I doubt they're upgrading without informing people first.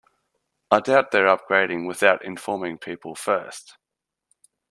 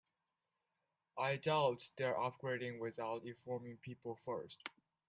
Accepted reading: first